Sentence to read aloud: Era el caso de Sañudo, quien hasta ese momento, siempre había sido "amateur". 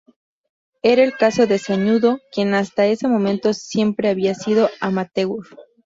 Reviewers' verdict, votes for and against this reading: accepted, 2, 0